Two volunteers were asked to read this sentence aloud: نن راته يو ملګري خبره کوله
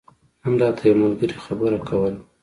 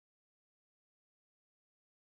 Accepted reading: first